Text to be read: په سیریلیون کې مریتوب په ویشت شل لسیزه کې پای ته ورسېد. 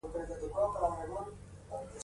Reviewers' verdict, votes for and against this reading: accepted, 2, 0